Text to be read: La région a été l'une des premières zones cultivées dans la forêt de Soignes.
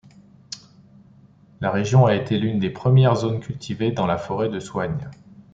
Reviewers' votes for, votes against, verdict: 2, 0, accepted